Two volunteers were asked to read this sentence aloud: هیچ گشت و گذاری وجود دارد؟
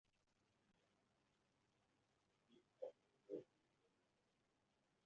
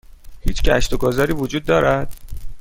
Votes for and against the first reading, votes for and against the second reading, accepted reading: 1, 2, 2, 0, second